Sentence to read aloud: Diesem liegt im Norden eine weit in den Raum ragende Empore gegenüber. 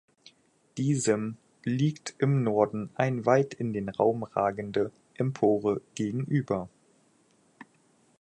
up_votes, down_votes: 0, 4